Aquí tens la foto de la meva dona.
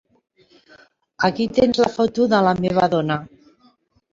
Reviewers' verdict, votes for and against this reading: rejected, 1, 2